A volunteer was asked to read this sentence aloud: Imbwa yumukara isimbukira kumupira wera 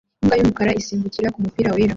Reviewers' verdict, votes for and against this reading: accepted, 2, 0